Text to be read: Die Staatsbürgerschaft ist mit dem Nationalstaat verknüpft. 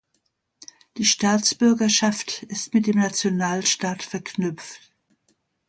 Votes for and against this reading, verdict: 2, 1, accepted